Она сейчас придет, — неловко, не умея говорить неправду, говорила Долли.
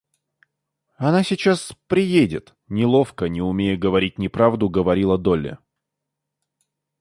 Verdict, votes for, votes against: rejected, 0, 2